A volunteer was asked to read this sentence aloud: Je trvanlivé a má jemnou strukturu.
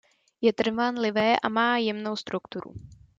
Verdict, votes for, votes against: accepted, 2, 0